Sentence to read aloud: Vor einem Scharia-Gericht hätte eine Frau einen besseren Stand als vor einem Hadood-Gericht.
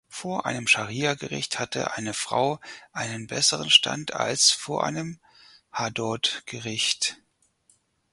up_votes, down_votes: 2, 4